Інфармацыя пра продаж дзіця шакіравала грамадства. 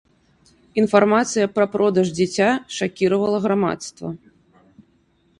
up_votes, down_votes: 4, 0